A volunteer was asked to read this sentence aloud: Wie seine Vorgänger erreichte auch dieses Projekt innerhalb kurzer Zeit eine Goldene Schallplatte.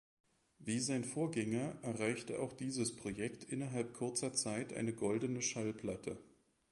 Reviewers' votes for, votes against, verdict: 1, 2, rejected